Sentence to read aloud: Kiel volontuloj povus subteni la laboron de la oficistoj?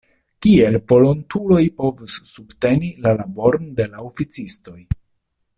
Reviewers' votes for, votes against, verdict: 2, 0, accepted